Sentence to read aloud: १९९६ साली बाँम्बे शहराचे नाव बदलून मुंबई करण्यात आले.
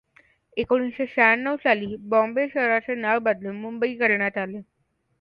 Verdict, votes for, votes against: rejected, 0, 2